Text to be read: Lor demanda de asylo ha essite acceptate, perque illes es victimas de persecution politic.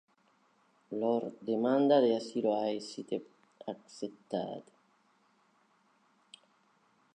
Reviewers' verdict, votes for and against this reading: rejected, 0, 2